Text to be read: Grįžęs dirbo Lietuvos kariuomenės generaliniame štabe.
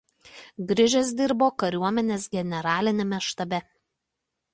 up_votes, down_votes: 0, 2